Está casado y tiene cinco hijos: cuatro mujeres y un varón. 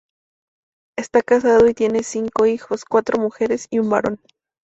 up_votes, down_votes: 2, 0